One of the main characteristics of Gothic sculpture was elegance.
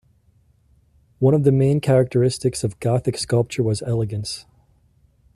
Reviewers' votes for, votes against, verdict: 2, 0, accepted